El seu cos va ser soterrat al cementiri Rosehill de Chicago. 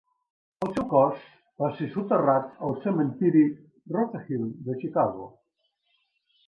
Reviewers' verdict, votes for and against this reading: rejected, 1, 2